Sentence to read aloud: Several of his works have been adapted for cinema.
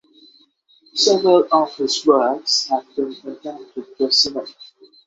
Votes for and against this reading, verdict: 6, 3, accepted